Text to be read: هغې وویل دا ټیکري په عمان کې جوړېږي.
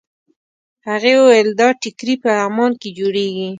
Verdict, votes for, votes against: rejected, 1, 2